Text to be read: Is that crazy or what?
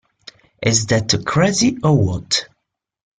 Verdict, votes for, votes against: accepted, 2, 0